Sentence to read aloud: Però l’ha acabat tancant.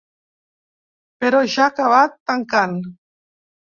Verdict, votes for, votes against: rejected, 0, 2